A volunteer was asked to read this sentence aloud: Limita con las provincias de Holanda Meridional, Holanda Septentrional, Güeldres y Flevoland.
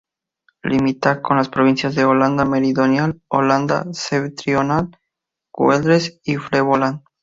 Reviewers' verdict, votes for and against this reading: rejected, 0, 2